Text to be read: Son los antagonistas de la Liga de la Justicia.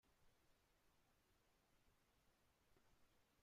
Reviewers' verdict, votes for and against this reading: rejected, 0, 2